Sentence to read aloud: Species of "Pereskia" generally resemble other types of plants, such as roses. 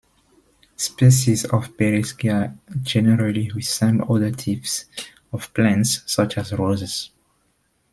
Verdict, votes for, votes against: rejected, 1, 2